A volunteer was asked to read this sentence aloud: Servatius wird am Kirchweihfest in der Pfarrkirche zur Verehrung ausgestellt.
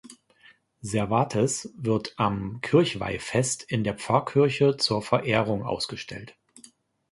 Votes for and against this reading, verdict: 0, 2, rejected